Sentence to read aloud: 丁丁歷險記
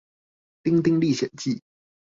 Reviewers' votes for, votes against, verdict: 2, 0, accepted